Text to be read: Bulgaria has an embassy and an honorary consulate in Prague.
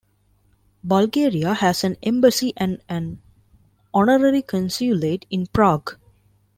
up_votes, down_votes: 1, 2